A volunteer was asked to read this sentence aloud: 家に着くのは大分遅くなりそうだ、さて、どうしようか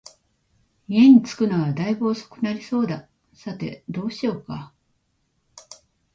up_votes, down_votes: 2, 0